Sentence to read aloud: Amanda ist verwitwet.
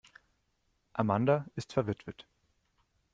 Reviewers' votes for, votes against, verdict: 2, 0, accepted